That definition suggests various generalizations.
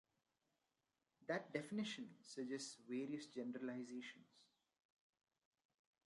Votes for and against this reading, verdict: 1, 2, rejected